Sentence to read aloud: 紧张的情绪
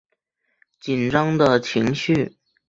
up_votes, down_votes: 2, 0